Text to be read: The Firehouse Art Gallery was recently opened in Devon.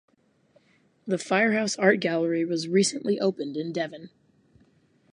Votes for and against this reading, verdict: 4, 0, accepted